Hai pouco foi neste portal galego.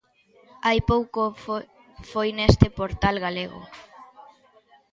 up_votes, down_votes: 0, 2